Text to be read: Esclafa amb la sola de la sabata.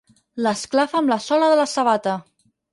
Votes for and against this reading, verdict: 0, 4, rejected